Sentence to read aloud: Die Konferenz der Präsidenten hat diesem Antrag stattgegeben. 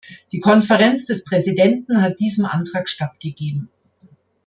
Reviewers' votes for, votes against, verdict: 0, 3, rejected